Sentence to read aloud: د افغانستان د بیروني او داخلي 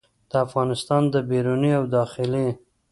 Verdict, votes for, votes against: rejected, 0, 2